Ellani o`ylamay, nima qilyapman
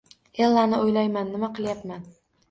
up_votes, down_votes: 0, 2